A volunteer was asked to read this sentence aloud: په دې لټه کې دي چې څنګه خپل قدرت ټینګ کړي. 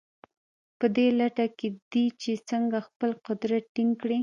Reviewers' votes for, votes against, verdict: 0, 2, rejected